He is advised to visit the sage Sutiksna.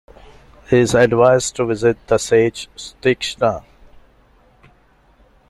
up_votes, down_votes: 0, 2